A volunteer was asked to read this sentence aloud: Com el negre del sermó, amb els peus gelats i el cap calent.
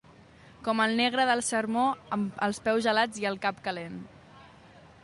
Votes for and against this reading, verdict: 2, 0, accepted